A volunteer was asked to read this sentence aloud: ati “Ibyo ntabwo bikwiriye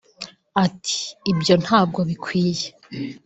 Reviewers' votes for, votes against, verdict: 2, 3, rejected